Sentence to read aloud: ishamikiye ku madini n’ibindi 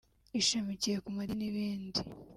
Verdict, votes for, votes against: accepted, 3, 0